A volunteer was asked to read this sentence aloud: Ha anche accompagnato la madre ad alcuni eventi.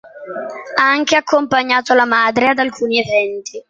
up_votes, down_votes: 2, 0